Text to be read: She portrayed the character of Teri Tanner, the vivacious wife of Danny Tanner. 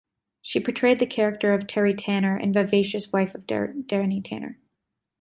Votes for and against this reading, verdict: 2, 0, accepted